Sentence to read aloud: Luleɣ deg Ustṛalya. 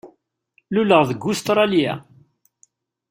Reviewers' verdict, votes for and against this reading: accepted, 2, 0